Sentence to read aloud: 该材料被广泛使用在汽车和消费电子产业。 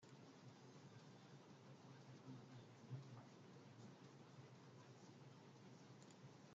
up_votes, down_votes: 0, 2